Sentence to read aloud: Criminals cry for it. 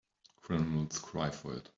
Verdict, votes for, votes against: rejected, 2, 3